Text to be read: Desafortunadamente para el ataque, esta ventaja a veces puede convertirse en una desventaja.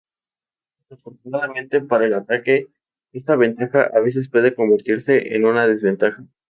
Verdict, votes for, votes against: accepted, 4, 0